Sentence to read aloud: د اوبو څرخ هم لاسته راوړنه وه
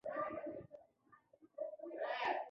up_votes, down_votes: 2, 1